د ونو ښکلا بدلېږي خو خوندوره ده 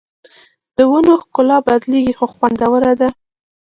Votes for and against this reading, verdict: 2, 1, accepted